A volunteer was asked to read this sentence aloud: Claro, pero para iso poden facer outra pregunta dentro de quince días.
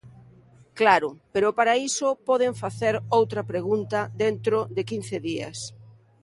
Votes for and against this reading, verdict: 2, 0, accepted